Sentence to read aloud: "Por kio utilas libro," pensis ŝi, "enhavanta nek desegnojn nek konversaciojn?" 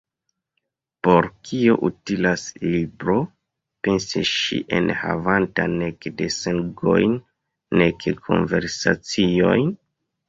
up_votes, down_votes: 1, 2